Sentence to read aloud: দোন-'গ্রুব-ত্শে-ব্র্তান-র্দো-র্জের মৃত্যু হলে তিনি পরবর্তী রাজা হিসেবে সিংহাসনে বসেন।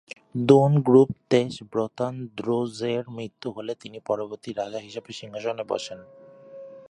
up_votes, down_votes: 1, 2